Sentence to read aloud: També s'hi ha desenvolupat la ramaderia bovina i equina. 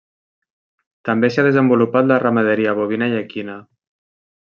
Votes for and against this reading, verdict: 2, 0, accepted